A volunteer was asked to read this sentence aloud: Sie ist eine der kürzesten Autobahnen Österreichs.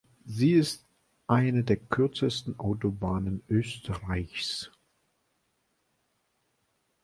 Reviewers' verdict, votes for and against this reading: accepted, 2, 0